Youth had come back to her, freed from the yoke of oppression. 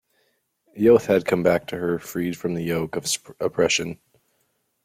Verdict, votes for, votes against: rejected, 1, 2